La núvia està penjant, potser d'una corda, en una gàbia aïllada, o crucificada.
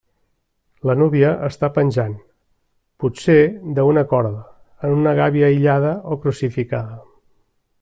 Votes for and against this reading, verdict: 0, 2, rejected